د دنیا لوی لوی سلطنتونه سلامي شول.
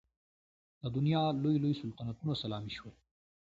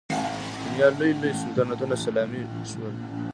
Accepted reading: first